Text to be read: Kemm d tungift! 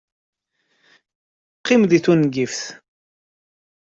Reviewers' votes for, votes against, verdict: 1, 2, rejected